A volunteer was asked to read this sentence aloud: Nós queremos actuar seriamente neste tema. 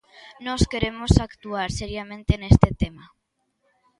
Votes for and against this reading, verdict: 2, 0, accepted